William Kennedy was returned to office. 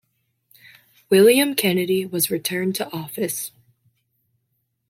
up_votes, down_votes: 2, 0